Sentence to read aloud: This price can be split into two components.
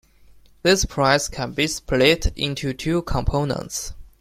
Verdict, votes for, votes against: accepted, 3, 0